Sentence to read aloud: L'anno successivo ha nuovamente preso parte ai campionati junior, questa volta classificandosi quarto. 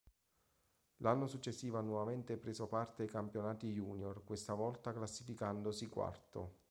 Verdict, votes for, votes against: accepted, 2, 0